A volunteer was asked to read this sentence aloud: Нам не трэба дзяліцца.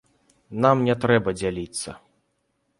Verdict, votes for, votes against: rejected, 1, 2